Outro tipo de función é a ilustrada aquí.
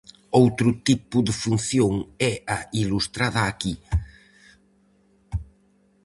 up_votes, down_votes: 4, 0